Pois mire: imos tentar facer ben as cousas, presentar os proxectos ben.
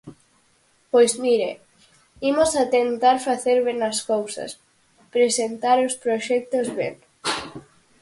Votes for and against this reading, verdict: 0, 4, rejected